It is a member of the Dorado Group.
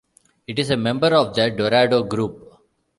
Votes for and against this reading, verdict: 1, 2, rejected